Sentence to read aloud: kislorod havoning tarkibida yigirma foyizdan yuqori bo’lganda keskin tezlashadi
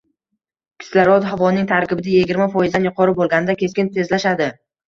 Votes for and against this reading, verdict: 2, 1, accepted